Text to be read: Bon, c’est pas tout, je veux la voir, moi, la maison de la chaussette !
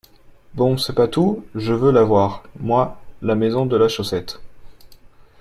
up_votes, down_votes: 2, 0